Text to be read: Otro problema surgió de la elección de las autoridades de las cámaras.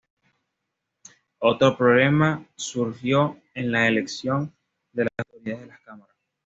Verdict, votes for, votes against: rejected, 0, 2